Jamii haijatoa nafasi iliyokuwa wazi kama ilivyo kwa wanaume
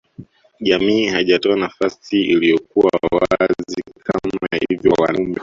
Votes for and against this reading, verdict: 0, 2, rejected